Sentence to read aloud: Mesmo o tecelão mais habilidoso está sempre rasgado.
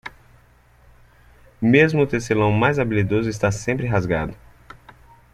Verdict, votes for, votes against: accepted, 2, 0